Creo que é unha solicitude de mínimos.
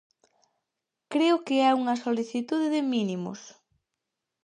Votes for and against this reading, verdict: 4, 0, accepted